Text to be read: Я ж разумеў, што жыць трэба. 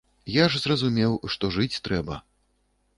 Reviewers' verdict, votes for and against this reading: rejected, 1, 2